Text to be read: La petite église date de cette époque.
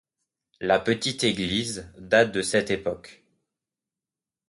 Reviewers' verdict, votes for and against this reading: accepted, 2, 0